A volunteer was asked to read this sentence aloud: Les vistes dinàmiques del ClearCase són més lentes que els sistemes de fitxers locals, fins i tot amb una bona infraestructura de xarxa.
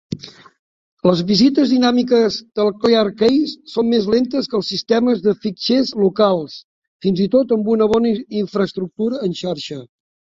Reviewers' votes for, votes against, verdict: 0, 2, rejected